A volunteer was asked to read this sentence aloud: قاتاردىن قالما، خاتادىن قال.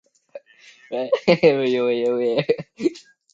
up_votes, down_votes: 0, 2